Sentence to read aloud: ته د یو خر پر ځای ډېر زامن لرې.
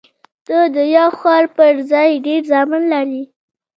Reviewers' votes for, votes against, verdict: 1, 2, rejected